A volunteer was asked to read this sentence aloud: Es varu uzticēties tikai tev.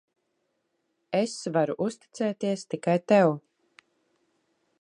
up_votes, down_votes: 3, 0